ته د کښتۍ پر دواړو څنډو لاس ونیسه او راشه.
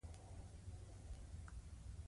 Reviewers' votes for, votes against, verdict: 1, 2, rejected